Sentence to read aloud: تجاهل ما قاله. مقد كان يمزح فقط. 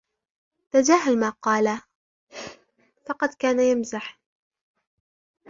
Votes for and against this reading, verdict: 0, 2, rejected